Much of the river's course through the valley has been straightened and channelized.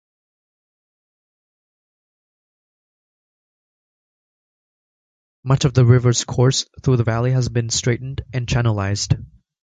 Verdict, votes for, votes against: accepted, 2, 0